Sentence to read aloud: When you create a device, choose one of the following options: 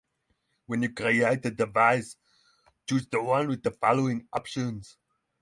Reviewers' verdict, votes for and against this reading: rejected, 3, 6